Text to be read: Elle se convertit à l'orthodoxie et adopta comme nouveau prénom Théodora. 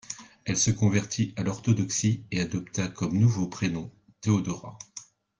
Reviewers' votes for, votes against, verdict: 2, 0, accepted